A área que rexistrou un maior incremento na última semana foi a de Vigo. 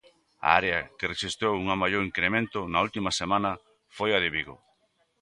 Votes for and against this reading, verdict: 1, 2, rejected